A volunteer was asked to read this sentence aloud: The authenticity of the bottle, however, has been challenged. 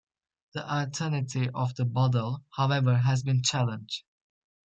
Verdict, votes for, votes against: rejected, 0, 2